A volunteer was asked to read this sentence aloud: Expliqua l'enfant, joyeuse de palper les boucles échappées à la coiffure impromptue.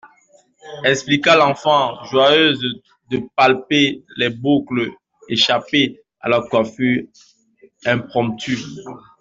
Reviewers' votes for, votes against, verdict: 0, 2, rejected